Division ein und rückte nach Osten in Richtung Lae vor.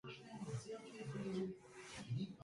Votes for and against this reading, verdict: 0, 2, rejected